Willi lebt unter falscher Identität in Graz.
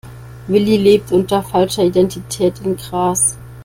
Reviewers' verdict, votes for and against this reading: rejected, 0, 2